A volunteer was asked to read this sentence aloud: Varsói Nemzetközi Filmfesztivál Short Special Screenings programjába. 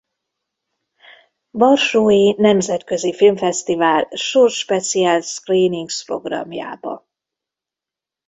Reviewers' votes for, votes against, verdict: 1, 2, rejected